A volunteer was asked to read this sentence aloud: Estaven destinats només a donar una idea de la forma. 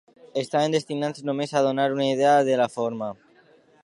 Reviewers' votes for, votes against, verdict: 2, 0, accepted